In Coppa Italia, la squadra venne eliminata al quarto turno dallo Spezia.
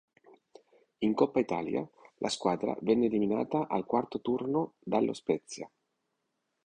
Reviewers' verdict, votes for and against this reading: accepted, 2, 0